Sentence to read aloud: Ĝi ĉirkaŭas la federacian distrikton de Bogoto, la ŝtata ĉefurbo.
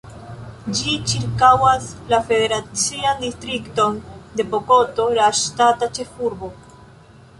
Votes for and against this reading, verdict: 2, 0, accepted